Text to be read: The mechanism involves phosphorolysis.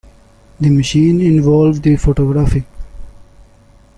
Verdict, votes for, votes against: rejected, 0, 2